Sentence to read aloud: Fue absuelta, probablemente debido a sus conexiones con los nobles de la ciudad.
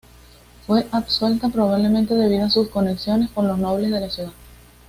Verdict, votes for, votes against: accepted, 2, 0